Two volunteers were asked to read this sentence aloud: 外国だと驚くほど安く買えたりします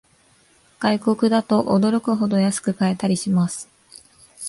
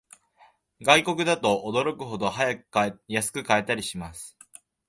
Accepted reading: first